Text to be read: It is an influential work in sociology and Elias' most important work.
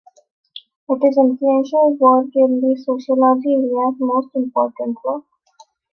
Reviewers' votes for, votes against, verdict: 0, 3, rejected